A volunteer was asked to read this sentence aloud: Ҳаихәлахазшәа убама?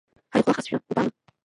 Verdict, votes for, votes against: rejected, 0, 2